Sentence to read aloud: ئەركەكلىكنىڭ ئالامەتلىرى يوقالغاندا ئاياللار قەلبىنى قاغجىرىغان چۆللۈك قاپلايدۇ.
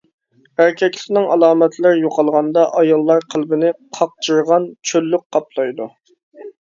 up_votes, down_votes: 1, 2